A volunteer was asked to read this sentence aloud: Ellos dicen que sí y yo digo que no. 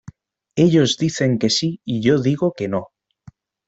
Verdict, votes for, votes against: accepted, 2, 0